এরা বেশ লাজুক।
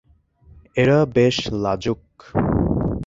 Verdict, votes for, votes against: accepted, 21, 2